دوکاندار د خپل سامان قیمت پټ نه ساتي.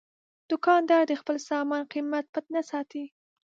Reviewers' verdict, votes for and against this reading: rejected, 0, 2